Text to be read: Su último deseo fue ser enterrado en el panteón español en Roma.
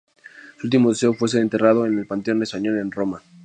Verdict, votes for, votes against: accepted, 2, 0